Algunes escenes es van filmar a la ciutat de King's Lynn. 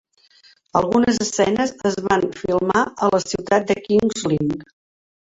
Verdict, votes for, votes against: accepted, 4, 1